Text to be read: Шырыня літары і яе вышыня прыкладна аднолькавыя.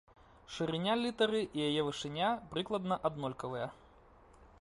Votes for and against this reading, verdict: 2, 1, accepted